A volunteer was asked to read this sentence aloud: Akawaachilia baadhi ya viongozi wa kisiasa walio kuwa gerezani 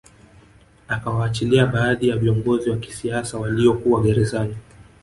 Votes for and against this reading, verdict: 2, 0, accepted